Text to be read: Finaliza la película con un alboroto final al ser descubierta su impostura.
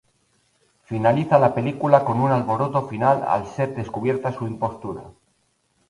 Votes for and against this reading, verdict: 0, 2, rejected